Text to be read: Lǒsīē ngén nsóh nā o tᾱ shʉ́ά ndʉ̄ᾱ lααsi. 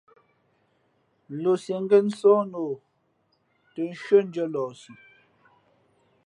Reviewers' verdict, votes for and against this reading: accepted, 2, 0